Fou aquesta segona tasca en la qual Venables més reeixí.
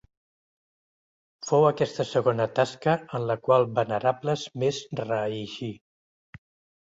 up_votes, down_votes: 0, 3